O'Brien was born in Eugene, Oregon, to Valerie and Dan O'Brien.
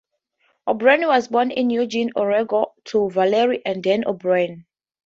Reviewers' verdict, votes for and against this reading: accepted, 4, 0